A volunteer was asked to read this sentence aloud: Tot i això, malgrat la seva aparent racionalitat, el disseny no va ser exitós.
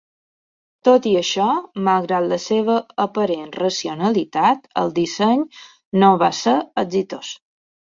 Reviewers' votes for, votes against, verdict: 3, 0, accepted